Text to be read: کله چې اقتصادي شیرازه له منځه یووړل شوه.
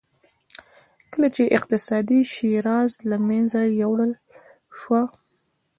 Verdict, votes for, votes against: accepted, 2, 0